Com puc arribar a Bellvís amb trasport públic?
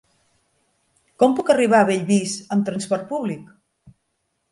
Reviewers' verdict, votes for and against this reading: accepted, 4, 0